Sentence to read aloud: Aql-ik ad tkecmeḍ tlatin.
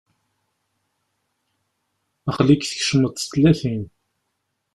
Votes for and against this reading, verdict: 1, 2, rejected